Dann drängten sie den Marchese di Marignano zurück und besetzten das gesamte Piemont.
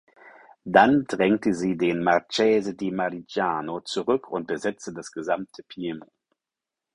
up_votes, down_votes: 0, 4